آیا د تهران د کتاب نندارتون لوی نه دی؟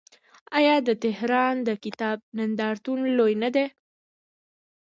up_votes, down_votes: 1, 2